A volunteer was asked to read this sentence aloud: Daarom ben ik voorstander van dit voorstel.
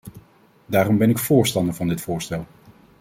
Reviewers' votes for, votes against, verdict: 2, 0, accepted